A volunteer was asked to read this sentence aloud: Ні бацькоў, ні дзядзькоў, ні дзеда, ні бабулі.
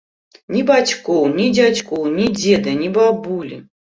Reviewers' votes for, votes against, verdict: 2, 0, accepted